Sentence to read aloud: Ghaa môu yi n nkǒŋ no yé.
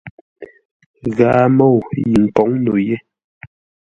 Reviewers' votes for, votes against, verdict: 2, 0, accepted